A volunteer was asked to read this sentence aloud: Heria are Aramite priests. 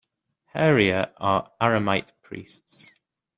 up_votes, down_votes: 2, 1